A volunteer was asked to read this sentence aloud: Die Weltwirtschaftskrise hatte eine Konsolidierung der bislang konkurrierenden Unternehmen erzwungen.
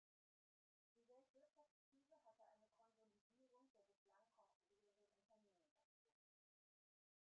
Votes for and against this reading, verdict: 0, 2, rejected